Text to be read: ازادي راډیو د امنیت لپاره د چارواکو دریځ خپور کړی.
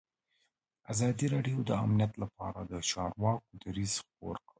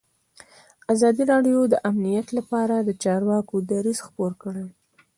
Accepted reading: second